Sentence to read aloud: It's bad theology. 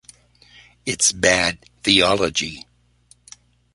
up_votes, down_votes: 2, 0